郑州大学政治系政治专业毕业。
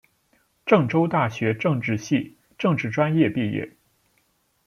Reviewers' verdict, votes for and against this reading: accepted, 2, 0